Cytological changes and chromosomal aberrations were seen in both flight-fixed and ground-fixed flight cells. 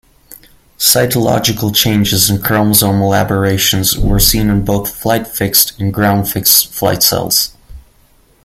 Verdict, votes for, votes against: accepted, 2, 0